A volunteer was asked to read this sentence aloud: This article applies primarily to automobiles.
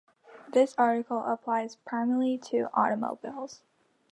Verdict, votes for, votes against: accepted, 2, 0